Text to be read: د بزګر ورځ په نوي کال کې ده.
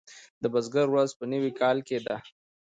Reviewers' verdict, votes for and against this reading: accepted, 2, 1